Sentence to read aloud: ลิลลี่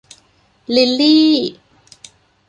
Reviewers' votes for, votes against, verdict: 2, 0, accepted